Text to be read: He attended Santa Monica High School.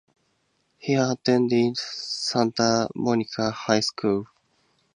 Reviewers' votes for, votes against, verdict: 2, 0, accepted